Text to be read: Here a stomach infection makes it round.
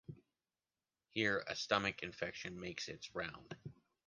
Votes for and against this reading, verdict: 1, 2, rejected